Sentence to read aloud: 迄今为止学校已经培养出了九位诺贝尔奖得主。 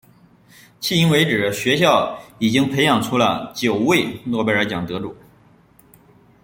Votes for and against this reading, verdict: 2, 0, accepted